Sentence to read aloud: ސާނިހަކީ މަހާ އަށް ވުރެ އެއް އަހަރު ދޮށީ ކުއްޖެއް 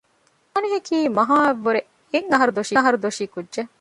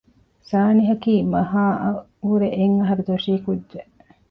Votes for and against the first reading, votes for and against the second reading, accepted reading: 0, 2, 2, 0, second